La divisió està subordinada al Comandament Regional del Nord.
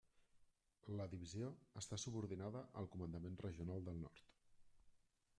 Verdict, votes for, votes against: rejected, 0, 2